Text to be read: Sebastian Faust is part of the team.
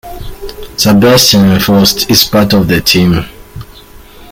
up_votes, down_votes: 3, 1